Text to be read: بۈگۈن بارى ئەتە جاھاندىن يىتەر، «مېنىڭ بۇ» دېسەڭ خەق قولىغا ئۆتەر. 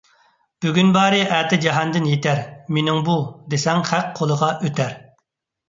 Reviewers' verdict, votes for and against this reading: accepted, 2, 0